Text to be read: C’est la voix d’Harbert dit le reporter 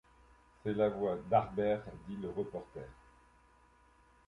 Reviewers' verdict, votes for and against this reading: accepted, 2, 0